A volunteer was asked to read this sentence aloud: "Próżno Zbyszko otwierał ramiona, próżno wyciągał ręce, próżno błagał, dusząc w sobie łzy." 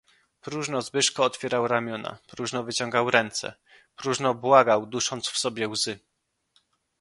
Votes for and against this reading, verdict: 2, 0, accepted